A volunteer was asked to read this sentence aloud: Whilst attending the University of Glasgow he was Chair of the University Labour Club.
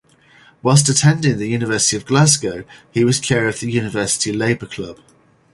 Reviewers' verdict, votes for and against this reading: accepted, 4, 0